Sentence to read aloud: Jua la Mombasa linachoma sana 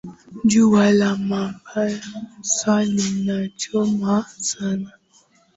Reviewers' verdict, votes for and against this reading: accepted, 3, 2